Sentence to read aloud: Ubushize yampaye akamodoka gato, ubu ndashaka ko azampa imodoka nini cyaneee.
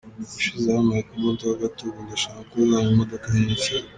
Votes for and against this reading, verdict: 1, 2, rejected